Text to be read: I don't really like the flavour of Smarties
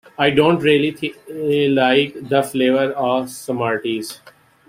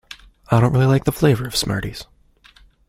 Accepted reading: second